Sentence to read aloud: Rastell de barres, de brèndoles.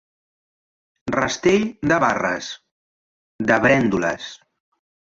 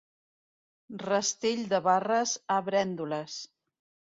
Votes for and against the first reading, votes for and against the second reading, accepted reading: 3, 0, 0, 2, first